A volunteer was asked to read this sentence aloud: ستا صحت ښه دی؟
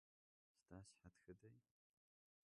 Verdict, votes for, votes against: rejected, 1, 2